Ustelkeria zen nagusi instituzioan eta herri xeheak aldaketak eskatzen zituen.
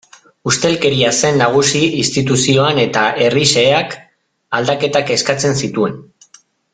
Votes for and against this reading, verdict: 2, 0, accepted